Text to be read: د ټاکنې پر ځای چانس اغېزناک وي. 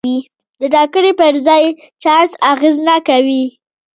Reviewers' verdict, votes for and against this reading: rejected, 1, 2